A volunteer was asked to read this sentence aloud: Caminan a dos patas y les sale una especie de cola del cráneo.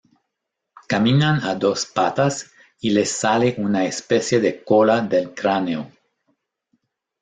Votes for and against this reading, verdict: 2, 0, accepted